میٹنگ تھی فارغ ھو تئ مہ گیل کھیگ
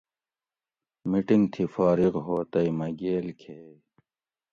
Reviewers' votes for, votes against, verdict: 2, 0, accepted